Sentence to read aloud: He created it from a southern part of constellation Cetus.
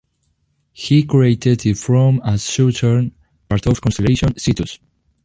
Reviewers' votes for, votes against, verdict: 2, 1, accepted